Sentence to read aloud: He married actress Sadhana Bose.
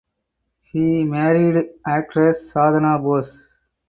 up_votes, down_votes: 4, 0